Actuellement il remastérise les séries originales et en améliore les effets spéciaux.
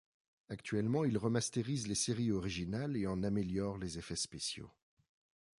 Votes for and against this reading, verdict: 2, 0, accepted